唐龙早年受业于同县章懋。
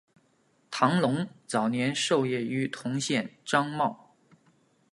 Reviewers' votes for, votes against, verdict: 2, 0, accepted